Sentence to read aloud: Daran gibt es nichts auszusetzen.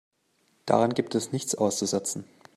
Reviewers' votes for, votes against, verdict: 2, 0, accepted